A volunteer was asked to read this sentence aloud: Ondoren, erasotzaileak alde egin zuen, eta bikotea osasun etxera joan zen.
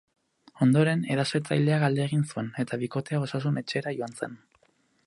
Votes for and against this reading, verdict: 0, 4, rejected